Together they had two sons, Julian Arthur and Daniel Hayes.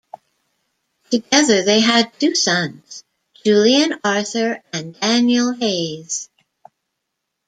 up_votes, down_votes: 2, 0